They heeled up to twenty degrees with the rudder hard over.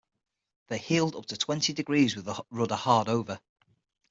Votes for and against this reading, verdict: 3, 6, rejected